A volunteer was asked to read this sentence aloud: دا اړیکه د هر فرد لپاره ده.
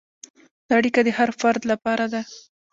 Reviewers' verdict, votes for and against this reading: rejected, 1, 2